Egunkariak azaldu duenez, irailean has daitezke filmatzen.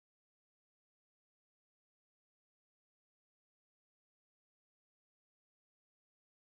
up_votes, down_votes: 0, 2